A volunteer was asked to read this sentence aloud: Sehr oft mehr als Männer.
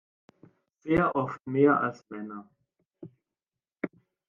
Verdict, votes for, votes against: accepted, 2, 1